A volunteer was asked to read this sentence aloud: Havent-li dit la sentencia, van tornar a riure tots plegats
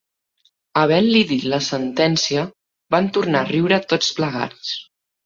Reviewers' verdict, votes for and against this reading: accepted, 3, 0